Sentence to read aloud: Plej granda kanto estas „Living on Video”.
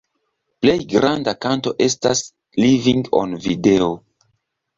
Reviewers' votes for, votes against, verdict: 2, 1, accepted